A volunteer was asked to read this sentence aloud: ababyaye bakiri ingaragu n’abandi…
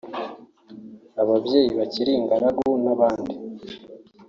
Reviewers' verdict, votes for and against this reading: rejected, 0, 2